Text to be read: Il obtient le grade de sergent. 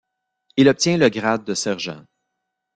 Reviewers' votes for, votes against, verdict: 2, 0, accepted